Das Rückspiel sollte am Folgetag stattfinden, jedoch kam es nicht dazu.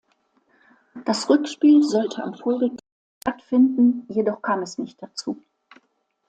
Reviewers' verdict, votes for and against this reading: rejected, 0, 2